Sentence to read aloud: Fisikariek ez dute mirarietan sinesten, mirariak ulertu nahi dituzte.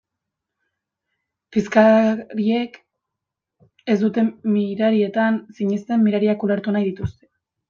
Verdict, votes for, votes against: rejected, 0, 2